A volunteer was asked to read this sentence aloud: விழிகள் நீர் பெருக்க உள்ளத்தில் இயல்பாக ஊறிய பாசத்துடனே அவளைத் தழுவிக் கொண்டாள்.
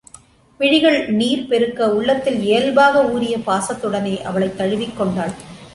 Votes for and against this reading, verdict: 2, 0, accepted